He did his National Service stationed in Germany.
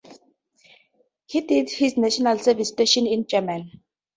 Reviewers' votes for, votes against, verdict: 2, 0, accepted